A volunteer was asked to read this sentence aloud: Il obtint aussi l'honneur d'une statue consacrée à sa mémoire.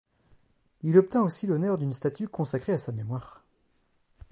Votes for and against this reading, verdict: 2, 0, accepted